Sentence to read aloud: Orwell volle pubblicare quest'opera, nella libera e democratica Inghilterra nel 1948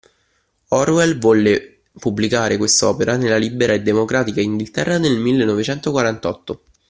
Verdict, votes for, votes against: rejected, 0, 2